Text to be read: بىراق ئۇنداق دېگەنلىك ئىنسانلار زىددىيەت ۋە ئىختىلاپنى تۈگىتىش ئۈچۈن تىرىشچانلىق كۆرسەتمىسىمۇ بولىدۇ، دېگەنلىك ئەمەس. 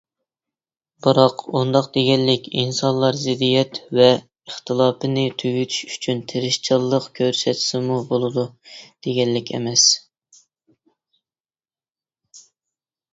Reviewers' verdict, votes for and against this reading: rejected, 0, 2